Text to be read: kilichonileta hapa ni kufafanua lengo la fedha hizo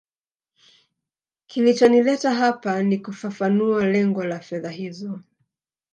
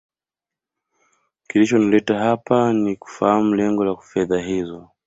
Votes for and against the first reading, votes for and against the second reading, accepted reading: 2, 0, 0, 2, first